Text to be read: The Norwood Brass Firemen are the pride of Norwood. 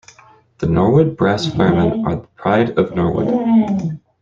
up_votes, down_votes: 0, 2